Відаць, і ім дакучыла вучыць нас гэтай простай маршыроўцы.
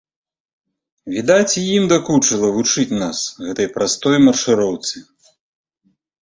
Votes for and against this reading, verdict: 0, 2, rejected